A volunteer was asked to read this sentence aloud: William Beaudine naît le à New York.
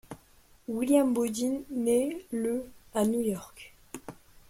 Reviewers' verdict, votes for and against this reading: accepted, 2, 0